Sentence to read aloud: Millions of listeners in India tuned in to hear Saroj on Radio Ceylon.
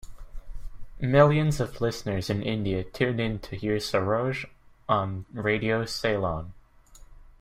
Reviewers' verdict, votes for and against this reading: accepted, 2, 1